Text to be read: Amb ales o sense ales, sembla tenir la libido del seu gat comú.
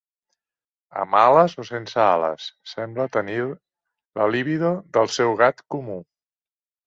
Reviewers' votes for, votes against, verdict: 3, 0, accepted